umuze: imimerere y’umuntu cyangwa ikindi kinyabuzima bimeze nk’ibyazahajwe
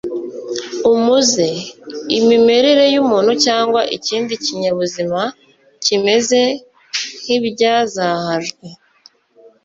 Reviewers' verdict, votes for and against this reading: rejected, 1, 2